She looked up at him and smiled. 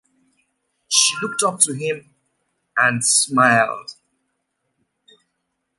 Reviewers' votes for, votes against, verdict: 0, 2, rejected